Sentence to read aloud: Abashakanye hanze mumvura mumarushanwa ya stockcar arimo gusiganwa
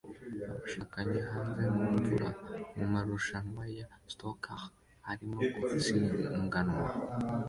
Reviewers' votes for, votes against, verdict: 0, 2, rejected